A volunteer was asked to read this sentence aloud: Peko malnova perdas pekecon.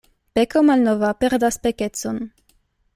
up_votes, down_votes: 2, 1